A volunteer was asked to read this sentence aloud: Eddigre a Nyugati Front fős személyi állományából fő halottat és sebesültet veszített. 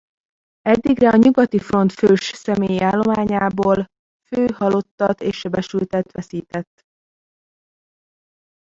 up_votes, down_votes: 0, 2